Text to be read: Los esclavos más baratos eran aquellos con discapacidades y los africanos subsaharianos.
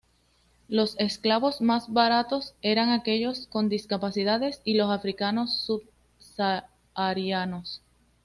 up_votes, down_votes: 2, 0